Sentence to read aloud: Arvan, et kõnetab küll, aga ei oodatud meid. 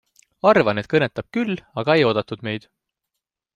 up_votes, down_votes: 2, 0